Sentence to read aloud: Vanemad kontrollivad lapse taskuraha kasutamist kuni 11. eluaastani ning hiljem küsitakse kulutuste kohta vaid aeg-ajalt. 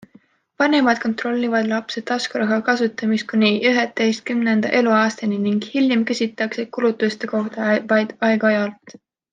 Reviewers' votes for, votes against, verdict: 0, 2, rejected